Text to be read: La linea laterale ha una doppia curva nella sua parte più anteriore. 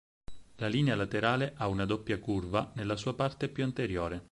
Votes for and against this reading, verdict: 4, 0, accepted